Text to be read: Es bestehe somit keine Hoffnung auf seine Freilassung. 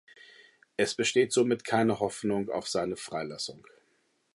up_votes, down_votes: 1, 2